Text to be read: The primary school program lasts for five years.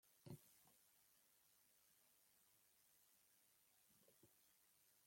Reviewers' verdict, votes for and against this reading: rejected, 0, 2